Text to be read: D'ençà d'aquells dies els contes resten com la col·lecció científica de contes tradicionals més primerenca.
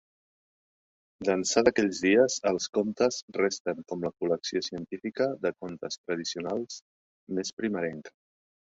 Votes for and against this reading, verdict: 0, 2, rejected